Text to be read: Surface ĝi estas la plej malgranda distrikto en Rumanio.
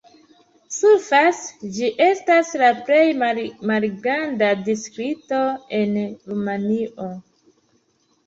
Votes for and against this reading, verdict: 0, 2, rejected